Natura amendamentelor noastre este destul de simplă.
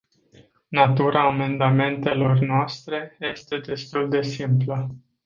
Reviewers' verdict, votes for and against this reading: accepted, 2, 0